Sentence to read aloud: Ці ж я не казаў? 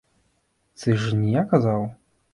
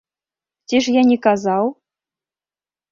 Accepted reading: second